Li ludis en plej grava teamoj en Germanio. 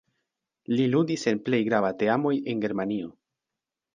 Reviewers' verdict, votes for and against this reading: accepted, 2, 0